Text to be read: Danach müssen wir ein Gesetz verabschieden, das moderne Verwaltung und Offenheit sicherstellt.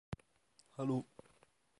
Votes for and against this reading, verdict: 0, 2, rejected